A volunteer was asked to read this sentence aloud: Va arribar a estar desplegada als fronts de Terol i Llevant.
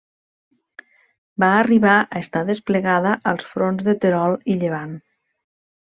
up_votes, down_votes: 3, 0